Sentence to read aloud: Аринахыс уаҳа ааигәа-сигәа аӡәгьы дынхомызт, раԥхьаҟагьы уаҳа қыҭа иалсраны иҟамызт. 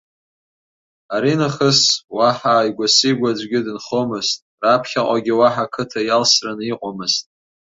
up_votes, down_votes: 4, 0